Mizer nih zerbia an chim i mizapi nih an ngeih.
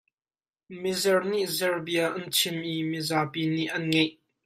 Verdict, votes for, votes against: rejected, 1, 2